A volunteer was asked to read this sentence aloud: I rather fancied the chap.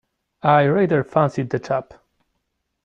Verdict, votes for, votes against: rejected, 1, 2